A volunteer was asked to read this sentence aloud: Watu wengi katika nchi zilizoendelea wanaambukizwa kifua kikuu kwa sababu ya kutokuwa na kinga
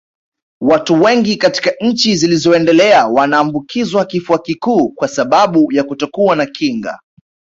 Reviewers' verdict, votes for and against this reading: accepted, 2, 1